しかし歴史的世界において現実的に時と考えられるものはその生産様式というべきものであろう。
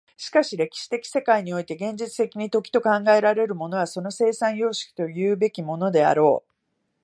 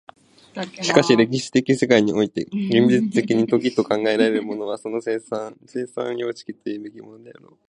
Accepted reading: first